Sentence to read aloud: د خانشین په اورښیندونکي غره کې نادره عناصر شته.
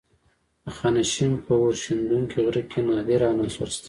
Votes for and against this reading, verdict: 1, 2, rejected